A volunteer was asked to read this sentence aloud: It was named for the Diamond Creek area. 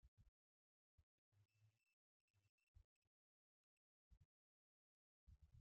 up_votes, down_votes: 0, 2